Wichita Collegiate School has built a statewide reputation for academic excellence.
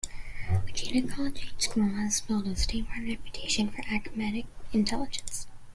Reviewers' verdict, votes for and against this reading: rejected, 0, 2